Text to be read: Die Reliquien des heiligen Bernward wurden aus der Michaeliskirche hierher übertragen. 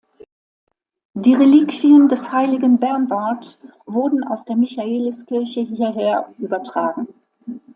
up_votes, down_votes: 2, 0